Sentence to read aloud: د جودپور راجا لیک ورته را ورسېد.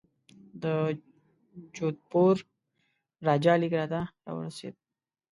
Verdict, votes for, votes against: rejected, 1, 2